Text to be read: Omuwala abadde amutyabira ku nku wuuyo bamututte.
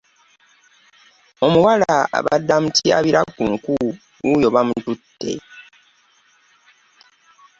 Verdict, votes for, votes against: accepted, 3, 0